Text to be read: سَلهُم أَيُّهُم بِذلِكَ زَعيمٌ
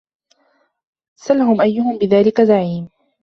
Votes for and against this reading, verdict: 2, 0, accepted